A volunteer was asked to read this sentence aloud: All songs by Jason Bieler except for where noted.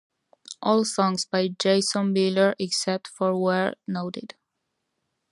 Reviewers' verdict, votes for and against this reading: accepted, 2, 0